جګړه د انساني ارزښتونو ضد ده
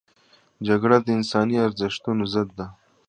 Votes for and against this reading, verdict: 2, 0, accepted